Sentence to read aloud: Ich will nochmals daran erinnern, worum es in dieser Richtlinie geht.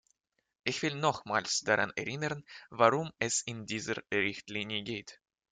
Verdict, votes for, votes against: rejected, 1, 3